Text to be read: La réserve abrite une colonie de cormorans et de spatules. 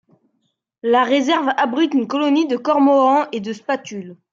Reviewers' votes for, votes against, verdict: 2, 0, accepted